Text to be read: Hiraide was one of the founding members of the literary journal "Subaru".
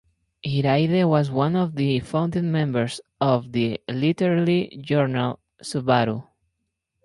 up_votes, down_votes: 4, 0